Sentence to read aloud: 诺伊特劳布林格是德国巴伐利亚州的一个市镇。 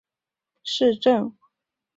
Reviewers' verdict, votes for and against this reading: rejected, 0, 3